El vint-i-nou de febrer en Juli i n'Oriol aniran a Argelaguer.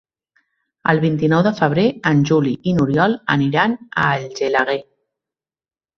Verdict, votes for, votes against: rejected, 1, 2